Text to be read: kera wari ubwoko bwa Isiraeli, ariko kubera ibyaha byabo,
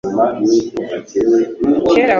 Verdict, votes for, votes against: rejected, 1, 2